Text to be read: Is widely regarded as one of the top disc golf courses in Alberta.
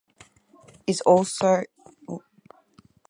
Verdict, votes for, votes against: rejected, 0, 4